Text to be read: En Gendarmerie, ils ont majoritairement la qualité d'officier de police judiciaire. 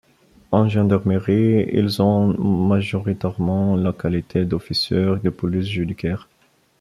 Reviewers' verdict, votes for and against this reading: rejected, 1, 2